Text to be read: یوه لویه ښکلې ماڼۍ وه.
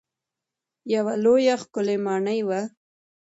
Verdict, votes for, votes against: accepted, 2, 0